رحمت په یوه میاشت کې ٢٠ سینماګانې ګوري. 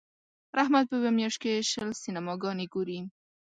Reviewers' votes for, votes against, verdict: 0, 2, rejected